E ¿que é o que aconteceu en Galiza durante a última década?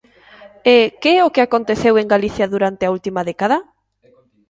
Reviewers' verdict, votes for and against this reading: accepted, 2, 1